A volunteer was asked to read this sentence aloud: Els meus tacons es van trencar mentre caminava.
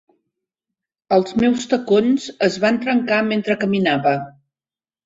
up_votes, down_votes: 3, 0